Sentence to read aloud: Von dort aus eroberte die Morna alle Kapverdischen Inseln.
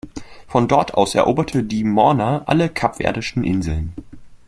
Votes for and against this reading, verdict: 2, 0, accepted